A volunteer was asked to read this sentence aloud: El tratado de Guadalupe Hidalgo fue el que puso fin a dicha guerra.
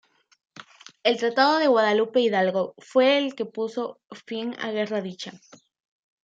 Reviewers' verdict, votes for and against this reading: rejected, 0, 2